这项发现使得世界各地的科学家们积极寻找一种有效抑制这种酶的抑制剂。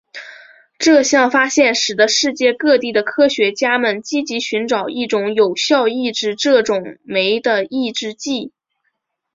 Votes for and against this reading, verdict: 2, 1, accepted